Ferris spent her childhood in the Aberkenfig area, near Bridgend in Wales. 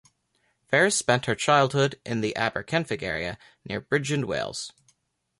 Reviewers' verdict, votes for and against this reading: rejected, 1, 2